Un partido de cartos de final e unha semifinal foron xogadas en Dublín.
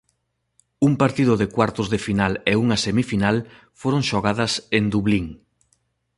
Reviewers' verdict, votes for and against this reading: rejected, 0, 2